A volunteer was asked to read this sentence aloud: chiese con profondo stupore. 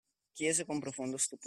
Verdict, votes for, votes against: rejected, 0, 2